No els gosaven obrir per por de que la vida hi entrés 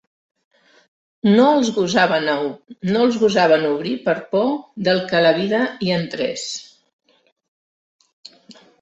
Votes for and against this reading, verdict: 0, 2, rejected